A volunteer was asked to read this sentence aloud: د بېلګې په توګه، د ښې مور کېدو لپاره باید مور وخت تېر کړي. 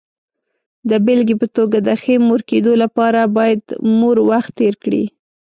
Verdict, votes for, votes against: accepted, 2, 0